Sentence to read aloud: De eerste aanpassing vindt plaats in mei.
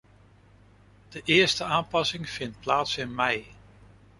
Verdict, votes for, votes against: accepted, 2, 0